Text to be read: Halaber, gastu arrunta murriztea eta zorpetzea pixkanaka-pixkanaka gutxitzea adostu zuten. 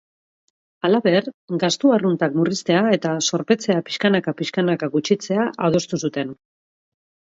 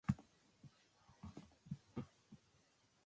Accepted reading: first